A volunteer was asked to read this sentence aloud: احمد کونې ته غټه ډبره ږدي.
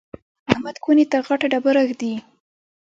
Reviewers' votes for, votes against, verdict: 2, 0, accepted